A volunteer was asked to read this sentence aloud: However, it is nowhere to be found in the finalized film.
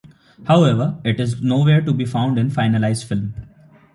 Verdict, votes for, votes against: rejected, 0, 2